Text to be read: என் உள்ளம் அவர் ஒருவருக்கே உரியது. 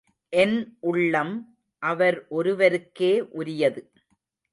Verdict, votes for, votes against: accepted, 2, 0